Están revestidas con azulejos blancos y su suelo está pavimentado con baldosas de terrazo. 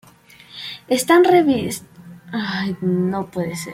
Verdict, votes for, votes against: rejected, 0, 2